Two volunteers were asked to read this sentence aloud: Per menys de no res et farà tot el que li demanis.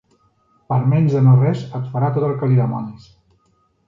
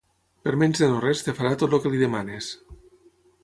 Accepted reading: first